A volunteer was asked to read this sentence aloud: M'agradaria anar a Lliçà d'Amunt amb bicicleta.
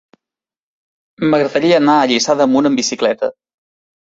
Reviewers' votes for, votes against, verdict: 2, 0, accepted